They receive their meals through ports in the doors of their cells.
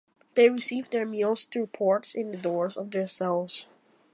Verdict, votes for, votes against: accepted, 2, 0